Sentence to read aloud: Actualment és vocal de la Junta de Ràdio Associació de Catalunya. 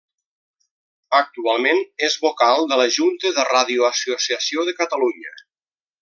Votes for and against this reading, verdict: 1, 2, rejected